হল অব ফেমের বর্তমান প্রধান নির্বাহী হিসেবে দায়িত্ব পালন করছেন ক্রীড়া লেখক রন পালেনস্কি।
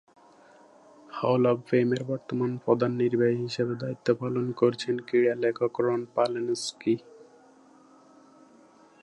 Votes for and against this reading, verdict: 0, 2, rejected